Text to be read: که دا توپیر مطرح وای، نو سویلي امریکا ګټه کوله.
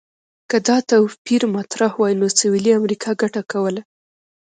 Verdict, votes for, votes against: accepted, 2, 0